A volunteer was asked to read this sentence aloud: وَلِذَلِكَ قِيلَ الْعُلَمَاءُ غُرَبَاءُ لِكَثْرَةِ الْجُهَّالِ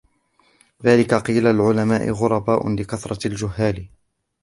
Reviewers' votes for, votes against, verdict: 1, 2, rejected